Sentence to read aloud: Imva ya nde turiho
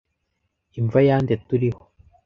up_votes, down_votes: 2, 0